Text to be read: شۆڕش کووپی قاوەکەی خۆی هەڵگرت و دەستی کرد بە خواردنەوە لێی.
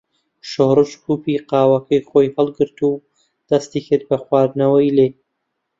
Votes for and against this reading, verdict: 0, 2, rejected